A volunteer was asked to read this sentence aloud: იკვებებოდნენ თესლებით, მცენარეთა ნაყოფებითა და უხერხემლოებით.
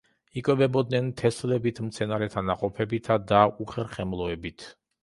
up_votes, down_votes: 2, 0